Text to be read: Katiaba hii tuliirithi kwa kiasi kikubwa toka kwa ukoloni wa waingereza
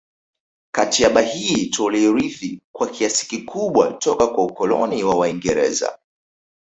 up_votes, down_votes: 2, 0